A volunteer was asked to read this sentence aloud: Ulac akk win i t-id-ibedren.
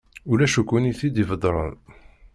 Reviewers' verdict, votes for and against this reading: rejected, 1, 2